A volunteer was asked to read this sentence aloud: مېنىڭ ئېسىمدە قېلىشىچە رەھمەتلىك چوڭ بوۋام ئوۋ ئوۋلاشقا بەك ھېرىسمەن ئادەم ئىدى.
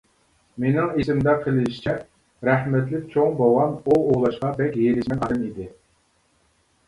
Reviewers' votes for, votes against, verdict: 2, 1, accepted